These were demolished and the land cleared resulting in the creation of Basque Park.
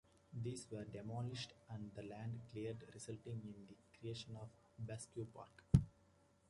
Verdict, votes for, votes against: accepted, 2, 1